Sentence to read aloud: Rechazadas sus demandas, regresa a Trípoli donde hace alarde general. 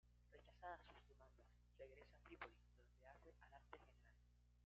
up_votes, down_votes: 1, 2